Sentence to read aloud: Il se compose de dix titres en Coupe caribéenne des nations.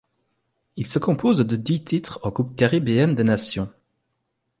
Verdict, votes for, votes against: accepted, 2, 0